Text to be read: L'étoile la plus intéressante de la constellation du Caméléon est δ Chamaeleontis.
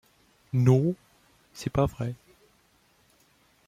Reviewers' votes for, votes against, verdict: 0, 2, rejected